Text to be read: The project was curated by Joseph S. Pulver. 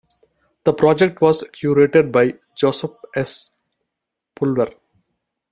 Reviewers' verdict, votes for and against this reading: accepted, 2, 0